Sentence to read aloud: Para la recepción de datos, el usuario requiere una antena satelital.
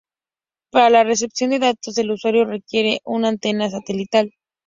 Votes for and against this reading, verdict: 2, 0, accepted